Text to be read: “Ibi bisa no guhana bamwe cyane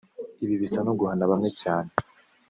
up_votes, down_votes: 2, 0